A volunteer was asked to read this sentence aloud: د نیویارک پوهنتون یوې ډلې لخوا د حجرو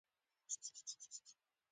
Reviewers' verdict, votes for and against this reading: rejected, 0, 2